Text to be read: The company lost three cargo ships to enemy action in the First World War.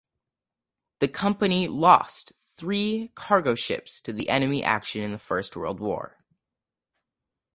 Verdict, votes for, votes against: rejected, 0, 4